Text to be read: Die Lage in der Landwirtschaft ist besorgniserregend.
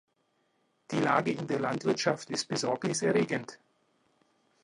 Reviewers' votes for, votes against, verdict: 2, 0, accepted